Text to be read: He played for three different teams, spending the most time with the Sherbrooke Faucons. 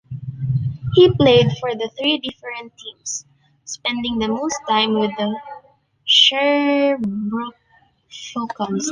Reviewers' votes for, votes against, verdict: 0, 3, rejected